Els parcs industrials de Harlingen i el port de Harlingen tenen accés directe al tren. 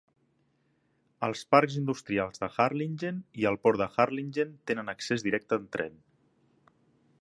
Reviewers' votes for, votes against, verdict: 2, 0, accepted